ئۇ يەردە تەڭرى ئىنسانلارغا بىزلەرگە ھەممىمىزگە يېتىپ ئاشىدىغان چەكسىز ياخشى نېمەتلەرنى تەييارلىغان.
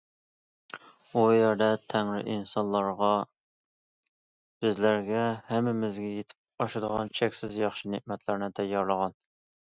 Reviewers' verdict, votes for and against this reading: accepted, 2, 0